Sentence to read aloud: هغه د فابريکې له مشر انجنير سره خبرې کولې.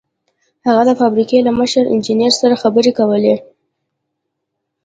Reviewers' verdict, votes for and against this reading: rejected, 1, 2